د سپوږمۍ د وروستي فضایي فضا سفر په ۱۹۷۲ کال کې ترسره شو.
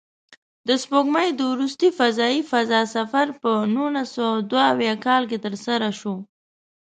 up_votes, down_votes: 0, 2